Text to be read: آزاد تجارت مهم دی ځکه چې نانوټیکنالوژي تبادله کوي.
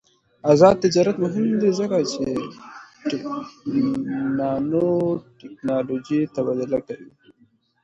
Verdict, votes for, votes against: accepted, 2, 0